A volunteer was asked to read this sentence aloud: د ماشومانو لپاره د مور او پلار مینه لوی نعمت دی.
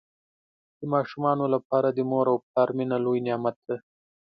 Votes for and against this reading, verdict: 2, 0, accepted